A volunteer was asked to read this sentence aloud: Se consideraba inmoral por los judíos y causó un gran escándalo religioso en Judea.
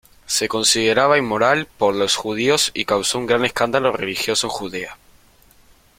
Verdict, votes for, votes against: accepted, 2, 0